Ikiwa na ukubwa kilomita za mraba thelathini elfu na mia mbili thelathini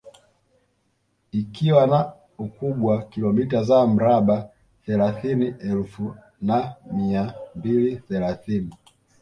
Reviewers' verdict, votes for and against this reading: accepted, 2, 0